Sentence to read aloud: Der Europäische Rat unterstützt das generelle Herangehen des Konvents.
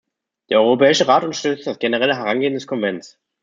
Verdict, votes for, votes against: accepted, 2, 0